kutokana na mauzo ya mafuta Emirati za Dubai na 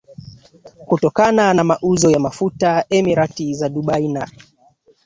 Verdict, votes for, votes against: accepted, 2, 1